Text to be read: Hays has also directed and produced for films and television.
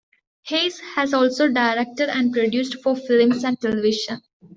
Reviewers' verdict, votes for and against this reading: accepted, 2, 0